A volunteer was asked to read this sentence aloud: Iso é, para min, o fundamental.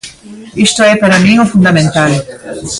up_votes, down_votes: 2, 1